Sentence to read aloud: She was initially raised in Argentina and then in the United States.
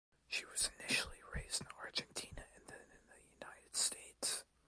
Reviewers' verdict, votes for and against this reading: rejected, 0, 2